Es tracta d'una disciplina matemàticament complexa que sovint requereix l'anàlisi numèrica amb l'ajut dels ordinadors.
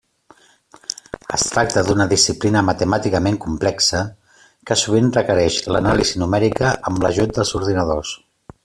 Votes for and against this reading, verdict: 3, 0, accepted